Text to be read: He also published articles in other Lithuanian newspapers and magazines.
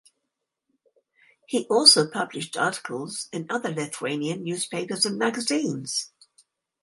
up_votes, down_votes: 2, 0